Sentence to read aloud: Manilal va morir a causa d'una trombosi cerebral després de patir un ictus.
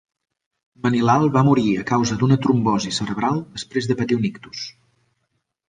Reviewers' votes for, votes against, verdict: 3, 0, accepted